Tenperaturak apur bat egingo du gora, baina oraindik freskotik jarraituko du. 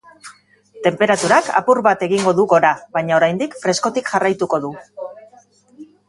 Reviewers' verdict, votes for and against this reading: rejected, 3, 5